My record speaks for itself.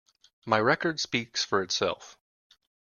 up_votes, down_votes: 2, 0